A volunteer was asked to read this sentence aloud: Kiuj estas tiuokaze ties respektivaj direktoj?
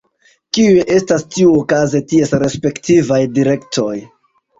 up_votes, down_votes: 2, 0